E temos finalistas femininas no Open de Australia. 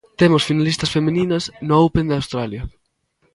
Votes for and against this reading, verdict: 0, 2, rejected